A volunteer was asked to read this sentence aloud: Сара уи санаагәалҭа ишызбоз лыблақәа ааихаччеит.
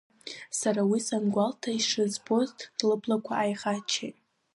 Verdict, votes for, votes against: accepted, 2, 0